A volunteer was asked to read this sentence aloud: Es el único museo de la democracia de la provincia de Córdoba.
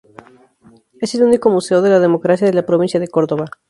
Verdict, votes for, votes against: accepted, 4, 0